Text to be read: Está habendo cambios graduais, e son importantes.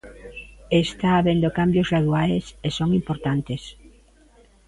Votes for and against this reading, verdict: 0, 2, rejected